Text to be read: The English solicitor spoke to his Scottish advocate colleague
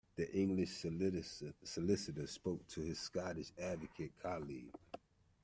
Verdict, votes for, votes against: rejected, 0, 2